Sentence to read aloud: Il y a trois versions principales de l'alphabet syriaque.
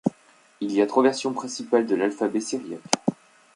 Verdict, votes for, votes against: accepted, 2, 0